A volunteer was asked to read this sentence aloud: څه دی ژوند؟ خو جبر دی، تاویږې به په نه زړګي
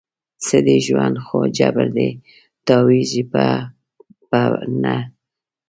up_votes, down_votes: 1, 2